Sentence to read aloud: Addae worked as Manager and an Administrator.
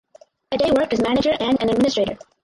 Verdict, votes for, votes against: rejected, 2, 4